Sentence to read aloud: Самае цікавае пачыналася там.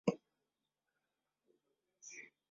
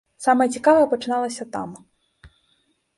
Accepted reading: second